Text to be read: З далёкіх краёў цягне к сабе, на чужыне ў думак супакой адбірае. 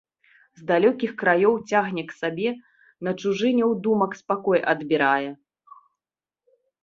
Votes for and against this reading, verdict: 2, 1, accepted